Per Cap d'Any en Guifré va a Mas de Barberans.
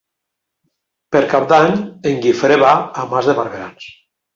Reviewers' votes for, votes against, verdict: 2, 0, accepted